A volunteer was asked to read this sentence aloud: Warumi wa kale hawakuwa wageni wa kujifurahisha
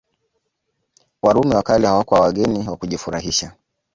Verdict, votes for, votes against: accepted, 2, 1